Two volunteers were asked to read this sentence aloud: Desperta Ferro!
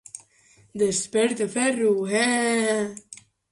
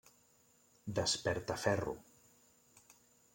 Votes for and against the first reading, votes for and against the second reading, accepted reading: 0, 2, 3, 0, second